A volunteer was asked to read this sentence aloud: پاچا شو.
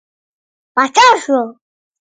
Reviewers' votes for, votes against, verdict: 1, 2, rejected